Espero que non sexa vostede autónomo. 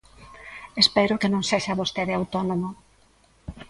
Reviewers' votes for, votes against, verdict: 2, 0, accepted